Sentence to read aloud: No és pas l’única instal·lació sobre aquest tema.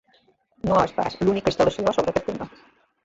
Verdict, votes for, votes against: rejected, 1, 3